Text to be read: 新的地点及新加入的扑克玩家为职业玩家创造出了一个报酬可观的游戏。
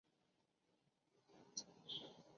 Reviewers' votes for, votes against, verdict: 0, 2, rejected